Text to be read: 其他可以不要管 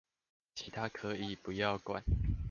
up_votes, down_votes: 2, 0